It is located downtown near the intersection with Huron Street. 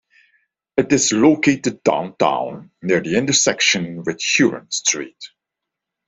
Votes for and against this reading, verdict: 1, 2, rejected